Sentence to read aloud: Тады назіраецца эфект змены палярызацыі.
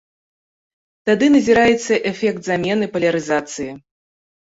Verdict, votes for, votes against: rejected, 0, 2